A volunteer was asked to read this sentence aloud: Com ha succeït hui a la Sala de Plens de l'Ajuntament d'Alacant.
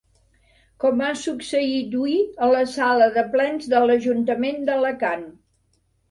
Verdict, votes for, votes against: rejected, 0, 2